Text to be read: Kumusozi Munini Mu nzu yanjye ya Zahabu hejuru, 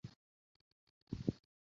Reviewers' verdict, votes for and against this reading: rejected, 0, 2